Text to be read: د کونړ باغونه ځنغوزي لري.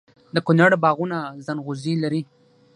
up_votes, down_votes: 3, 6